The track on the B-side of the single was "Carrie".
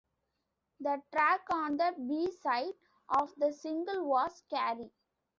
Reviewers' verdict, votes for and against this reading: rejected, 2, 3